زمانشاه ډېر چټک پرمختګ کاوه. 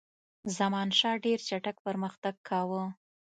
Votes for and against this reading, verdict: 2, 0, accepted